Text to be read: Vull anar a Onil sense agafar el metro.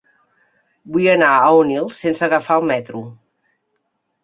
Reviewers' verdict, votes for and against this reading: accepted, 2, 0